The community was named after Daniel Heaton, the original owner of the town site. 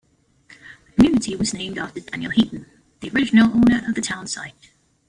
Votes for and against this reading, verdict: 1, 2, rejected